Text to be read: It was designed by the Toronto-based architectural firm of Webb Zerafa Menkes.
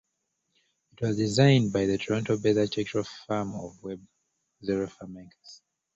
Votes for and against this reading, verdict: 1, 2, rejected